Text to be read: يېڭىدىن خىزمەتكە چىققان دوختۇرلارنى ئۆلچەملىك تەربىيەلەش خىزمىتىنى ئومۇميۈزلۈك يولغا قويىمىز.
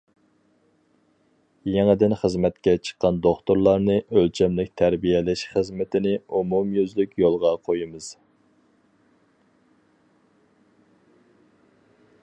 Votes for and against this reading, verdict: 4, 0, accepted